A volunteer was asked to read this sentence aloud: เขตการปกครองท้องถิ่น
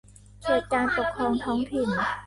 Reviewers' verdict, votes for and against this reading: rejected, 0, 2